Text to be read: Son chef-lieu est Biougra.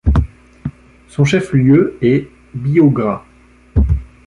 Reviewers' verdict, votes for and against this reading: accepted, 2, 0